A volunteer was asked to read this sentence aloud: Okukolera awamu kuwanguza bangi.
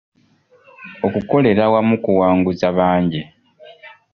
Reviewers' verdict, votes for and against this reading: accepted, 2, 0